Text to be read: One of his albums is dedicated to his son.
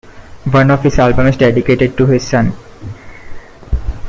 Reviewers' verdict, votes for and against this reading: accepted, 2, 0